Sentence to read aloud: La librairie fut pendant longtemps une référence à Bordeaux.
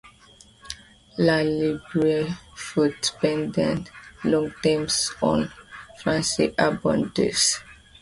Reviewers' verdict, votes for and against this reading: rejected, 0, 2